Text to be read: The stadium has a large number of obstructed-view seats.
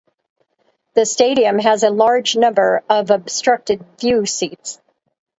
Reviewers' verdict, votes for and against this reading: rejected, 2, 2